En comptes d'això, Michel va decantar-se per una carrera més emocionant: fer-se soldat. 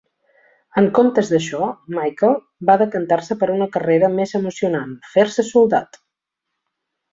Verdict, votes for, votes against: accepted, 4, 0